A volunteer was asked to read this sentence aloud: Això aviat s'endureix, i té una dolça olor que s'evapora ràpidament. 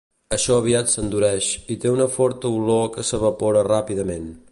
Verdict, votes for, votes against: rejected, 1, 2